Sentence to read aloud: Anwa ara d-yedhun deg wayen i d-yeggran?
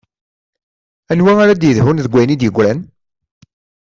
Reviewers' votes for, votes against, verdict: 2, 1, accepted